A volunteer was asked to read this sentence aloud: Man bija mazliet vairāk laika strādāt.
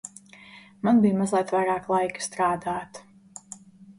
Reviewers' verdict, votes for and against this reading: accepted, 2, 0